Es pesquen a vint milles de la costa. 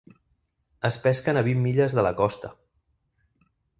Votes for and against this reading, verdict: 3, 0, accepted